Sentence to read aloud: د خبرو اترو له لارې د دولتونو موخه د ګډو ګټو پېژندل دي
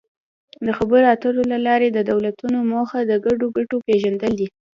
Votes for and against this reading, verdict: 3, 0, accepted